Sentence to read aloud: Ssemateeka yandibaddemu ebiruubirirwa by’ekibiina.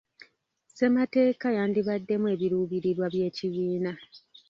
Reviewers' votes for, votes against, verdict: 2, 1, accepted